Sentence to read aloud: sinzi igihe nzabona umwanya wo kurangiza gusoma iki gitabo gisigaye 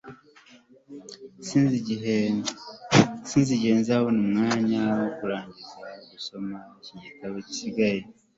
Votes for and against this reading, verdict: 3, 1, accepted